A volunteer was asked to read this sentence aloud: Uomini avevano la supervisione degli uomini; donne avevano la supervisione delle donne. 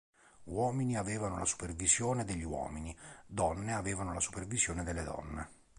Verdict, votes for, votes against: accepted, 4, 0